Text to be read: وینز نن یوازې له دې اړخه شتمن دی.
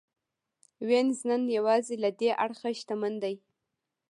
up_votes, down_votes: 2, 0